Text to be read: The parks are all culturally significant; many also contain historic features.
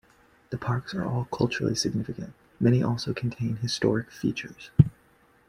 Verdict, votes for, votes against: accepted, 2, 0